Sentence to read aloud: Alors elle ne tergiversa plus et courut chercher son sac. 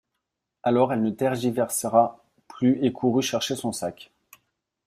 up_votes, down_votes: 0, 2